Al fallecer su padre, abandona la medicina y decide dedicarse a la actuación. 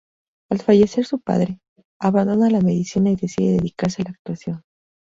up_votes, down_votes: 0, 2